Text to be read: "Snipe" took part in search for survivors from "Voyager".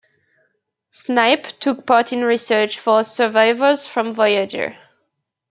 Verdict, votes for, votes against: rejected, 0, 2